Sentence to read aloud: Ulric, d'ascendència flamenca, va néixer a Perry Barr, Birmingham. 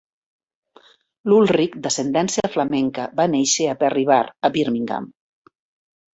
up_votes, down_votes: 1, 2